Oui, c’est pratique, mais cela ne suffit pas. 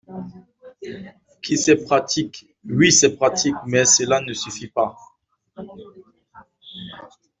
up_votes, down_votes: 1, 2